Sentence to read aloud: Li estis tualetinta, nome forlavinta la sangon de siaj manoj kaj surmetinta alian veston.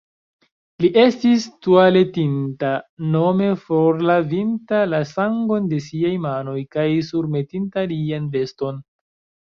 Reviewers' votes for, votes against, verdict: 2, 3, rejected